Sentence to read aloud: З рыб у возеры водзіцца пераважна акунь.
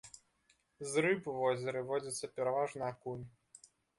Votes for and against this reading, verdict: 0, 2, rejected